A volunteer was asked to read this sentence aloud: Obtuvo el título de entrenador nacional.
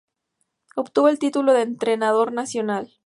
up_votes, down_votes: 2, 0